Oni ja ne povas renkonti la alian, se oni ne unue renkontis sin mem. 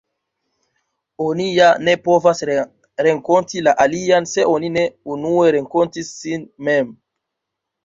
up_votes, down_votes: 0, 2